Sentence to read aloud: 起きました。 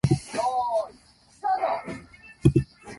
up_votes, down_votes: 0, 2